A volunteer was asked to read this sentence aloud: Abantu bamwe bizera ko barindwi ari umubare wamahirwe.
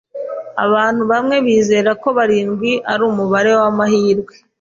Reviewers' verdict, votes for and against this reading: accepted, 2, 0